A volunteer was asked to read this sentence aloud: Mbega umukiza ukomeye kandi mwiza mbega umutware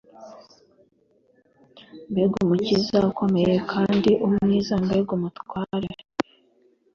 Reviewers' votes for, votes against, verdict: 2, 0, accepted